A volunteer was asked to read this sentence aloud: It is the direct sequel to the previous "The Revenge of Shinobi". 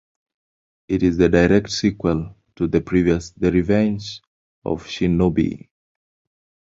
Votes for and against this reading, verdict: 2, 0, accepted